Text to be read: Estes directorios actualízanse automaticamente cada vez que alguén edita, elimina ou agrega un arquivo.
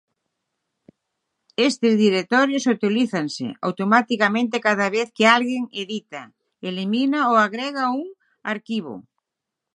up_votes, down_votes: 6, 3